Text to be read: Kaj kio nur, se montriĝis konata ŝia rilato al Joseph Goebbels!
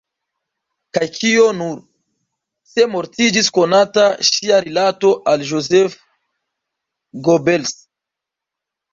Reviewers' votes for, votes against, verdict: 0, 2, rejected